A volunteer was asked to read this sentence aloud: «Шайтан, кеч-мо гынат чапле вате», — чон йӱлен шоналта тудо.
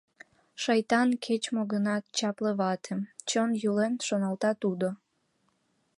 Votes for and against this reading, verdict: 2, 0, accepted